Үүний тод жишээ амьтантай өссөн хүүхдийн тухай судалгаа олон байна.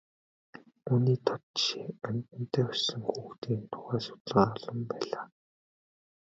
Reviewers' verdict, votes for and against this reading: rejected, 1, 2